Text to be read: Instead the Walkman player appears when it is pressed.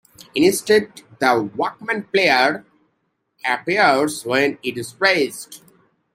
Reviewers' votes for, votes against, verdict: 0, 2, rejected